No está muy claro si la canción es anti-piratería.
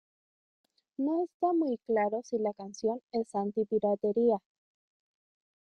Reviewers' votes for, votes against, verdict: 1, 2, rejected